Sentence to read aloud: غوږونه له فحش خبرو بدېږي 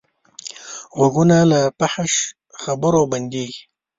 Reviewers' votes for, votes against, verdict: 1, 2, rejected